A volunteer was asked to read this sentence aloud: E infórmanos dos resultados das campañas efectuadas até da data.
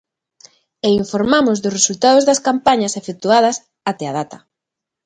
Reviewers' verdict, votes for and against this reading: accepted, 2, 0